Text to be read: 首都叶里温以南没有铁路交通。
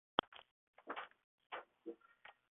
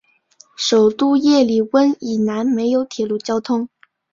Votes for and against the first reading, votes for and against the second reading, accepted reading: 2, 4, 4, 0, second